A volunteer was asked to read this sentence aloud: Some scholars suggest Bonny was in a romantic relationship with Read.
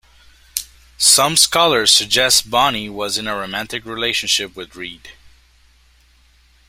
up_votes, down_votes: 2, 0